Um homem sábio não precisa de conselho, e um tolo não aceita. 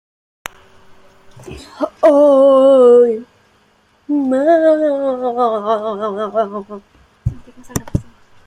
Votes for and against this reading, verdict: 0, 2, rejected